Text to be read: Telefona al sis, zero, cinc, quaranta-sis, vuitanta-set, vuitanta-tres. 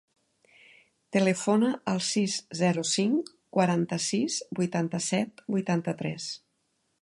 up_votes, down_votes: 4, 0